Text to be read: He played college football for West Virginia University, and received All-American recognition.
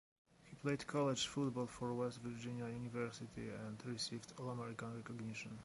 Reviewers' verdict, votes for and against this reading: accepted, 2, 0